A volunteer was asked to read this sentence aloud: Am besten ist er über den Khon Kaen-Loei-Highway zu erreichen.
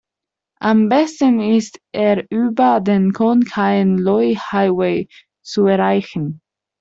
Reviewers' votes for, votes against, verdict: 2, 1, accepted